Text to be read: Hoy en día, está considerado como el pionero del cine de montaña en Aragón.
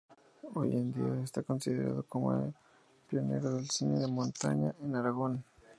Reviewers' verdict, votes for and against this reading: rejected, 0, 2